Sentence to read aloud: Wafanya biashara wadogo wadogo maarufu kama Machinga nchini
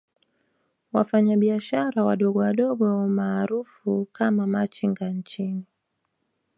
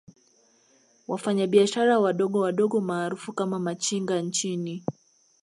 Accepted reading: second